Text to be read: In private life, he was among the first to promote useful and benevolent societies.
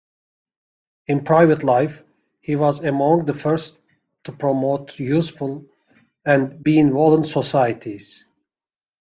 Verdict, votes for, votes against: rejected, 1, 2